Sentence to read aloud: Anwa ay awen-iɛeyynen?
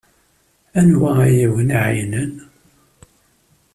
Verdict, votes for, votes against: accepted, 2, 0